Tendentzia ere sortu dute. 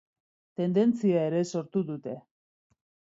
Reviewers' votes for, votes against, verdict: 2, 0, accepted